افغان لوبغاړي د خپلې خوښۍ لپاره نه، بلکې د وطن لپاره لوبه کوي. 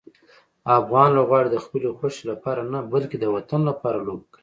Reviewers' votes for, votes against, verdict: 2, 0, accepted